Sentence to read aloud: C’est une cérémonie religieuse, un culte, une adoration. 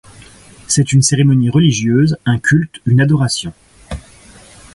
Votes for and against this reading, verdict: 3, 0, accepted